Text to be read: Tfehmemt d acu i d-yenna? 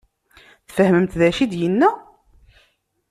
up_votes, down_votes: 2, 0